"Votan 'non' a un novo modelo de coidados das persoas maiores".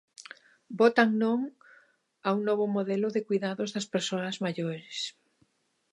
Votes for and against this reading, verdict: 2, 0, accepted